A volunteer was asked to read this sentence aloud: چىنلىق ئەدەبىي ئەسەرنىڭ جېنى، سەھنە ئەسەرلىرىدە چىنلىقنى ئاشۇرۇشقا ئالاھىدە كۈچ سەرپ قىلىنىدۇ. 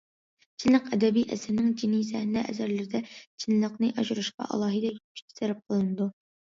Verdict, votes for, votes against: accepted, 2, 0